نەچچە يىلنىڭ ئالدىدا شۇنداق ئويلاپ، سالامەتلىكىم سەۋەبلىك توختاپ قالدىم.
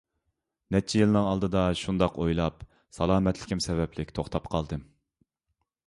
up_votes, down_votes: 2, 0